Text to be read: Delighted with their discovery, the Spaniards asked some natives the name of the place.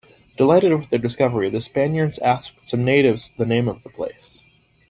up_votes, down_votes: 2, 0